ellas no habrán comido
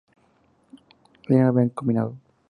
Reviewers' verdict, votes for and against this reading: rejected, 0, 2